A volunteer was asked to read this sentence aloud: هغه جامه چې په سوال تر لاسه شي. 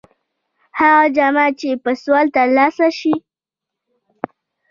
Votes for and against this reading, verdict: 1, 2, rejected